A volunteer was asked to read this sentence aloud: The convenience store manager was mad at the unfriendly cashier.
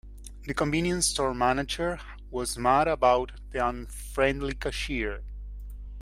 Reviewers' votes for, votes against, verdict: 0, 2, rejected